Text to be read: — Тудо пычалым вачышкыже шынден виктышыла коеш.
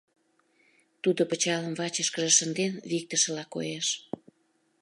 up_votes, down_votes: 2, 0